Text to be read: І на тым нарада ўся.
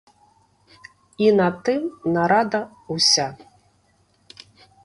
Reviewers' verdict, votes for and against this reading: rejected, 1, 2